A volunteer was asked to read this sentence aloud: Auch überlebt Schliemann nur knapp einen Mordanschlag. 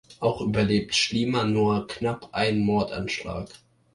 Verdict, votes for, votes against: accepted, 2, 0